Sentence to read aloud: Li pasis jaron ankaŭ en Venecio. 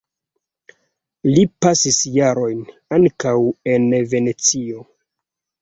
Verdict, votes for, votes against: rejected, 1, 2